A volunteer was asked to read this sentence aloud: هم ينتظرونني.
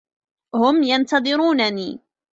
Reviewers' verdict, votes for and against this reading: accepted, 2, 0